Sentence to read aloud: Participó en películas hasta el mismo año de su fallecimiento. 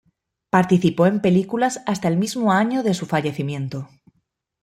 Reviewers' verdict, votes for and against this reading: accepted, 2, 0